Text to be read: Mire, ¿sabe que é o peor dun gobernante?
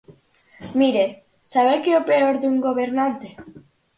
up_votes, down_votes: 4, 0